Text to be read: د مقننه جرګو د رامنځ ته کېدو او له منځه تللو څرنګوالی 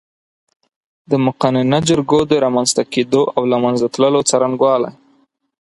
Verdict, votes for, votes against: accepted, 6, 0